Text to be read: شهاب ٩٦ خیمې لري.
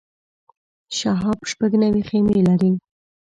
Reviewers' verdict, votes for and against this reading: rejected, 0, 2